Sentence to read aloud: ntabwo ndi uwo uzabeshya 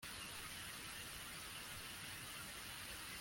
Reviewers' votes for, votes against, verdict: 0, 2, rejected